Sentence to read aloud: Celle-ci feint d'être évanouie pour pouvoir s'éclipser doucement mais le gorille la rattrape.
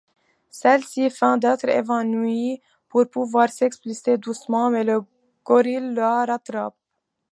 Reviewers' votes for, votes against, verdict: 0, 2, rejected